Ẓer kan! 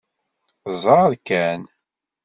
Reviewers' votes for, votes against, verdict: 2, 0, accepted